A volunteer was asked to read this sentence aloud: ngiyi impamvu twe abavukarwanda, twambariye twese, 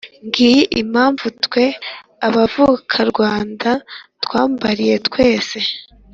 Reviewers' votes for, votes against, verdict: 3, 0, accepted